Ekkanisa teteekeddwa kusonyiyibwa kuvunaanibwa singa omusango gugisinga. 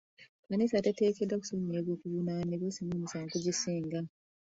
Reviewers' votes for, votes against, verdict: 1, 2, rejected